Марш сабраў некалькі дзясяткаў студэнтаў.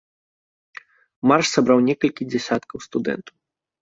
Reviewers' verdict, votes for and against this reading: accepted, 2, 0